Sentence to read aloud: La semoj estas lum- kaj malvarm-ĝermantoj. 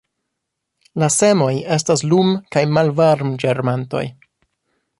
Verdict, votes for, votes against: rejected, 1, 2